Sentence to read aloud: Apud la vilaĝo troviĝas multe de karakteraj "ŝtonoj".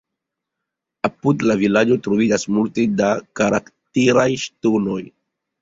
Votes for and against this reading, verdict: 0, 2, rejected